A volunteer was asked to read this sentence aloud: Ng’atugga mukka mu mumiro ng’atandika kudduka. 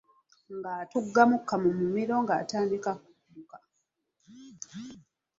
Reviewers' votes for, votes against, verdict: 0, 2, rejected